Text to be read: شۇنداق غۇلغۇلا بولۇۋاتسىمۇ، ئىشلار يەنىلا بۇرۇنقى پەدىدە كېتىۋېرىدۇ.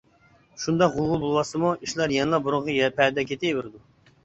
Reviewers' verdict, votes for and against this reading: rejected, 0, 2